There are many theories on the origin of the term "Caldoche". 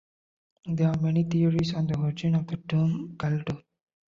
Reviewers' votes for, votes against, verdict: 3, 1, accepted